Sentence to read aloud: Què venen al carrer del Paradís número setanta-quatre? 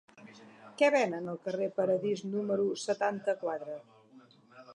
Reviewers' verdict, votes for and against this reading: rejected, 0, 2